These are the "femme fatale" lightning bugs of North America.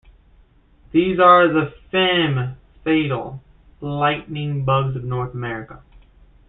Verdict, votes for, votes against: rejected, 1, 2